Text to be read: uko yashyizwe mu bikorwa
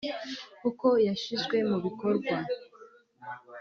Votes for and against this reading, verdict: 2, 1, accepted